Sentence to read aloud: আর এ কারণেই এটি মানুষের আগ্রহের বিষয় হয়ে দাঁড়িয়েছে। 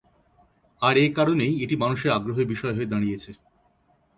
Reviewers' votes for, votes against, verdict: 5, 0, accepted